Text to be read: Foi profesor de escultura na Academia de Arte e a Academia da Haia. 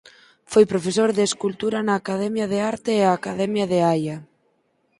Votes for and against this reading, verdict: 2, 4, rejected